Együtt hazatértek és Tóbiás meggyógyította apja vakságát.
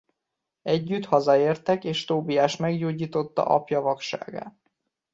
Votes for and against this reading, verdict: 1, 2, rejected